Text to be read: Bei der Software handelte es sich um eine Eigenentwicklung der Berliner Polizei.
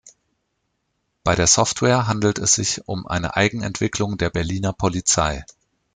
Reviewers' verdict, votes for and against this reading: accepted, 2, 1